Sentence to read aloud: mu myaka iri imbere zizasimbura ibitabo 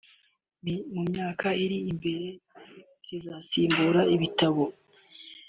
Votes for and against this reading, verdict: 2, 0, accepted